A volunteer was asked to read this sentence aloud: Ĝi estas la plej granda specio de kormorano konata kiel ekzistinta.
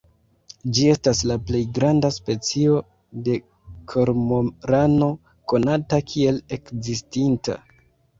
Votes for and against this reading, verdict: 0, 2, rejected